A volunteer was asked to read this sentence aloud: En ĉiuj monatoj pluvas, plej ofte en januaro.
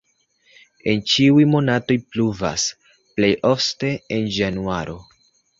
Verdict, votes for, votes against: rejected, 0, 2